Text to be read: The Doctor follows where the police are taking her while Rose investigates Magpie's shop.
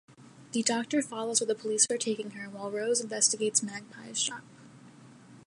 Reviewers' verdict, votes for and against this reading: accepted, 2, 0